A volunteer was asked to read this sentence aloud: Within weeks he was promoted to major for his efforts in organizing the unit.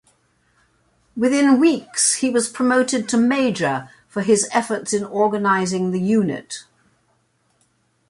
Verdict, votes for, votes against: accepted, 2, 0